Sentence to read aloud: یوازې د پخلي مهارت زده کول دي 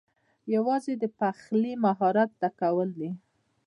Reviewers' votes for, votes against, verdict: 2, 1, accepted